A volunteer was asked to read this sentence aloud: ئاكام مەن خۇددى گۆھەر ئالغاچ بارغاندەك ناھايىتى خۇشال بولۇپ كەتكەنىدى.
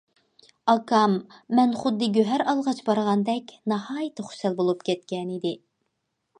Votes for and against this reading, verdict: 2, 0, accepted